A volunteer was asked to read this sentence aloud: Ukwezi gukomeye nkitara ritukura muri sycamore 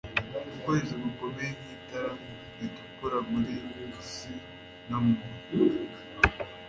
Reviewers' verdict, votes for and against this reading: rejected, 0, 2